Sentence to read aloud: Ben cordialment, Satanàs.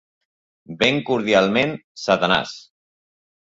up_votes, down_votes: 3, 0